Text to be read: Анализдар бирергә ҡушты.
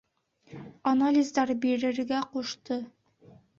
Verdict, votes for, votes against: accepted, 2, 0